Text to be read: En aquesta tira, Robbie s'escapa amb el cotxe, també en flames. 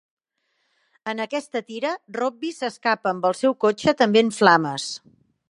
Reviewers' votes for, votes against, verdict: 1, 2, rejected